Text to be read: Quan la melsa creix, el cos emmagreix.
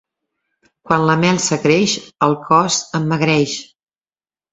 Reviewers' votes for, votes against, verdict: 2, 0, accepted